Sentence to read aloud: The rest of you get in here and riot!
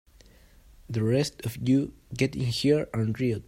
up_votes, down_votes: 1, 2